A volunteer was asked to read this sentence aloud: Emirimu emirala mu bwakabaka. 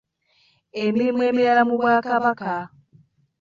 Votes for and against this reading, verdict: 1, 2, rejected